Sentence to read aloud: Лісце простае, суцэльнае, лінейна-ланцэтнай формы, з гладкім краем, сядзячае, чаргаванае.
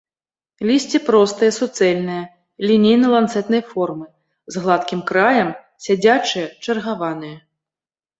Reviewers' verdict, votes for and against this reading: accepted, 3, 0